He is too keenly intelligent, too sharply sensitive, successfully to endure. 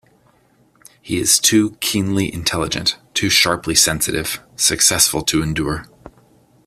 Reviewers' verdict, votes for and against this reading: rejected, 0, 2